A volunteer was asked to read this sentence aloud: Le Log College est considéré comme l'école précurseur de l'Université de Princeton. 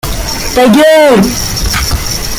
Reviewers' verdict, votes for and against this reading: rejected, 0, 2